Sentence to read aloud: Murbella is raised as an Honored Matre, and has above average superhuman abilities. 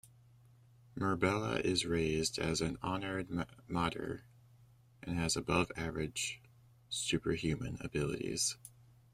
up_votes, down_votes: 1, 2